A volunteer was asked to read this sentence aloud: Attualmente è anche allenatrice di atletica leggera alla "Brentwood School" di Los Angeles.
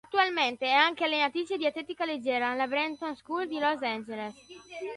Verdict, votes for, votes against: rejected, 1, 2